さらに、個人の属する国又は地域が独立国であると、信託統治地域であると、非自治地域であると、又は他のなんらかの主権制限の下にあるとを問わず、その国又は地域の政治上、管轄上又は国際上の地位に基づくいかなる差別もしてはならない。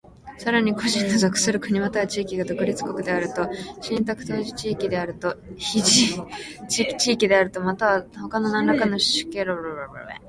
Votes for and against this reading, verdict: 0, 2, rejected